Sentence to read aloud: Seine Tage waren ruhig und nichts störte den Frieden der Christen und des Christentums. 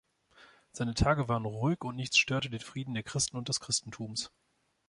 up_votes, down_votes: 2, 0